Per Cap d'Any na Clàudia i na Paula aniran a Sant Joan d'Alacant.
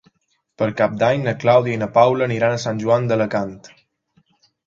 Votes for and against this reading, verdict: 2, 0, accepted